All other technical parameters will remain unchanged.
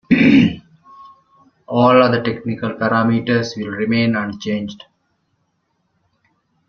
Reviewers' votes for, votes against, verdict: 2, 0, accepted